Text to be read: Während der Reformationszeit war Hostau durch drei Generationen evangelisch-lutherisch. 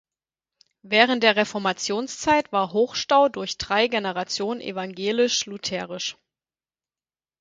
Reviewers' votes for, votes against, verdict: 0, 4, rejected